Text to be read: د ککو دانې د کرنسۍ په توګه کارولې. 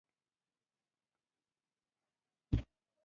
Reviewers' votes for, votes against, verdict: 1, 2, rejected